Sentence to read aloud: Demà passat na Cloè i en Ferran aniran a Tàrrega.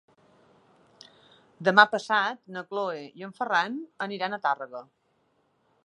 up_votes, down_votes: 3, 0